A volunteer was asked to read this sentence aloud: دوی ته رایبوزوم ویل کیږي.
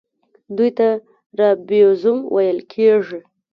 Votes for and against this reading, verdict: 0, 2, rejected